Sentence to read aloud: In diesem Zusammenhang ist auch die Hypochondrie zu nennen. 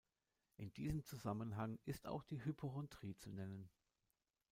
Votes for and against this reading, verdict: 1, 2, rejected